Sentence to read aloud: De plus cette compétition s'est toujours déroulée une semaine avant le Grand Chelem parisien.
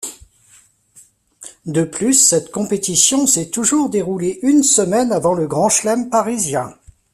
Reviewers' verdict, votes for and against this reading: rejected, 1, 2